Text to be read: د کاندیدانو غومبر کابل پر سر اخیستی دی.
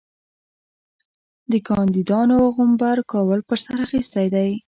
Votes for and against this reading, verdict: 1, 2, rejected